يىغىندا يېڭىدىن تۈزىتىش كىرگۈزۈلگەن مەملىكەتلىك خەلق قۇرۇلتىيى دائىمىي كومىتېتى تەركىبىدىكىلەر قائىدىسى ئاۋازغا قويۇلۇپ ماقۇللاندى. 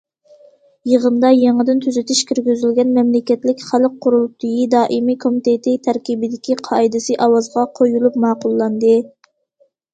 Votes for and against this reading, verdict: 0, 2, rejected